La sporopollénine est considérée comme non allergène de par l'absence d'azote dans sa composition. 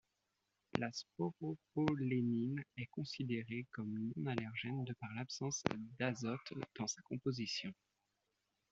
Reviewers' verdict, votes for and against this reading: accepted, 2, 0